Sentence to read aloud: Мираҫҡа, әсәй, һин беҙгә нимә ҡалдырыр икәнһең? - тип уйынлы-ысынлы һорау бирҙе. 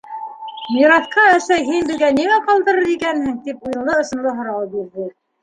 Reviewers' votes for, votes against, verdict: 2, 0, accepted